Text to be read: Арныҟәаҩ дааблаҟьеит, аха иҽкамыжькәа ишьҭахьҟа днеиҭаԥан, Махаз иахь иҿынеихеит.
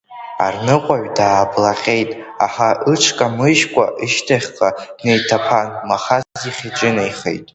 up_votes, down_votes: 0, 2